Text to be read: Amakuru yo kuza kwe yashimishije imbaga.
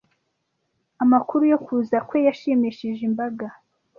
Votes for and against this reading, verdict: 1, 2, rejected